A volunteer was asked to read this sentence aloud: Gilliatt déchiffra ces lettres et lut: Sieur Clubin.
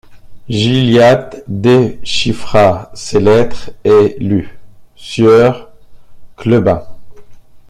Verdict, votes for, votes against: rejected, 0, 2